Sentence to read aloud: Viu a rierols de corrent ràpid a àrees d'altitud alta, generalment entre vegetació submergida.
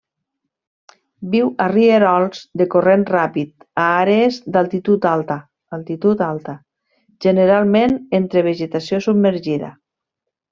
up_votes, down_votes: 1, 2